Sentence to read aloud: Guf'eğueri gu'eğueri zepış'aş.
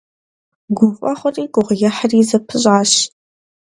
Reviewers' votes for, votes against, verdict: 1, 2, rejected